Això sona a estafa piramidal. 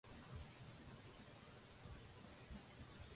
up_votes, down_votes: 0, 2